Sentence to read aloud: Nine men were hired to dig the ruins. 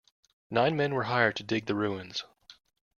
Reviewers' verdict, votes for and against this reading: accepted, 2, 0